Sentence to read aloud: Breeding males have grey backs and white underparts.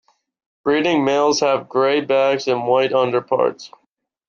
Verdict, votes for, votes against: accepted, 2, 0